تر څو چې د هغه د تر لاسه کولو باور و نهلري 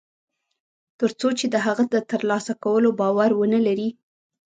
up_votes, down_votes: 0, 2